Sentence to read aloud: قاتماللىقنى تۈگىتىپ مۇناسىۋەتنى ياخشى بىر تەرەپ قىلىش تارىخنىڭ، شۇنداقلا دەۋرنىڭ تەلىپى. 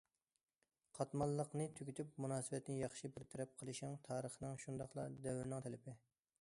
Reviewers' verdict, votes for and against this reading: rejected, 0, 2